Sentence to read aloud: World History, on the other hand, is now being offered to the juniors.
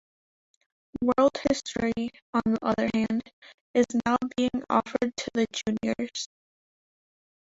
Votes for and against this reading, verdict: 0, 2, rejected